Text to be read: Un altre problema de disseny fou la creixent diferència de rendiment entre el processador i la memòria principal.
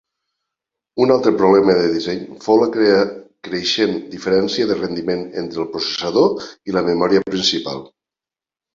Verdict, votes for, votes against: rejected, 0, 2